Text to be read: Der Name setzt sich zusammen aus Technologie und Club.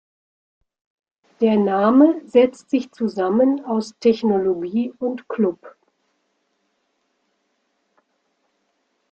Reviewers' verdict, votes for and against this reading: accepted, 2, 0